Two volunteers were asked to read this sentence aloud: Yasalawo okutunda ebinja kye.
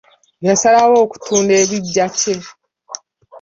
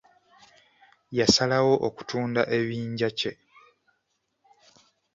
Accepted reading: first